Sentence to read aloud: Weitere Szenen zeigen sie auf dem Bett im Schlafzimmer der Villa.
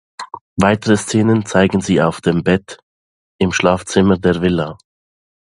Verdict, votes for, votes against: accepted, 2, 0